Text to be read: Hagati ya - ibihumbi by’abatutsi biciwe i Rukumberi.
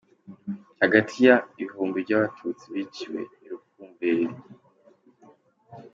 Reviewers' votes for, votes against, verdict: 2, 1, accepted